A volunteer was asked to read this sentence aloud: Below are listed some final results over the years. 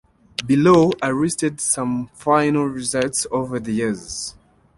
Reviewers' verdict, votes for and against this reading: accepted, 2, 1